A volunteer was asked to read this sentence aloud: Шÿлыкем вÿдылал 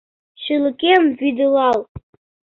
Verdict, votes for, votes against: accepted, 2, 0